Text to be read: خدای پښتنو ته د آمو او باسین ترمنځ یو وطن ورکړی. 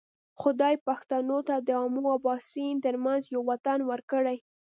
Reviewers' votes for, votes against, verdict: 1, 2, rejected